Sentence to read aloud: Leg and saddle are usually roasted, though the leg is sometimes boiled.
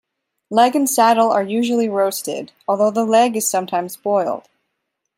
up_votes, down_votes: 0, 2